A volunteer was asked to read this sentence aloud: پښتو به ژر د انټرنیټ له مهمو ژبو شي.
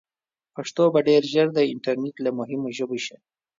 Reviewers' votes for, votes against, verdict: 0, 2, rejected